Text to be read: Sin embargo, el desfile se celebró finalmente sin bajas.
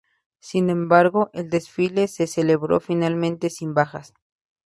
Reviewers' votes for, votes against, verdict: 2, 0, accepted